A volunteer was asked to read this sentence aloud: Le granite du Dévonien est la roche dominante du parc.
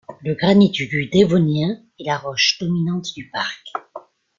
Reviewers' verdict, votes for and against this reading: rejected, 1, 2